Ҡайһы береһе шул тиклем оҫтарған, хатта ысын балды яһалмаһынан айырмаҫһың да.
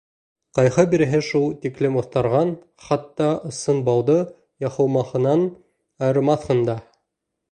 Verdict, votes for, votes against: rejected, 1, 2